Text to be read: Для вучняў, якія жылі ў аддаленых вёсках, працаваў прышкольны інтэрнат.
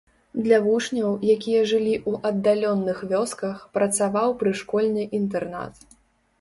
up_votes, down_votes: 1, 2